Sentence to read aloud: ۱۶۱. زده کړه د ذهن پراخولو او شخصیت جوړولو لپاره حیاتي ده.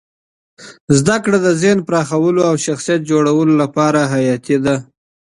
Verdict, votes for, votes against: rejected, 0, 2